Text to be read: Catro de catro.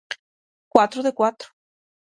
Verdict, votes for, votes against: rejected, 0, 6